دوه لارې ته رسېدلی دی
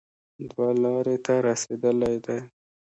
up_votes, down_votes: 2, 0